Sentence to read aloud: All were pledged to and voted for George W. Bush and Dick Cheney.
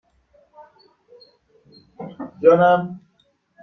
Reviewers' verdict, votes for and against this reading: rejected, 0, 2